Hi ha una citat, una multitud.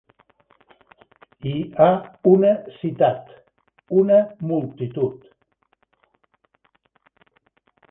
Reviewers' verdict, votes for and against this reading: accepted, 2, 1